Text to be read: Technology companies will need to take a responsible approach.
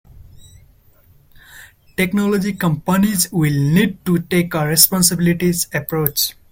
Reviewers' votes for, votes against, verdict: 0, 2, rejected